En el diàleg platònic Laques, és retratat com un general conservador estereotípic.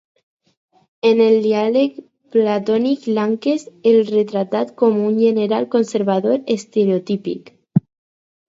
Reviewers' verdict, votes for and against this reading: accepted, 4, 0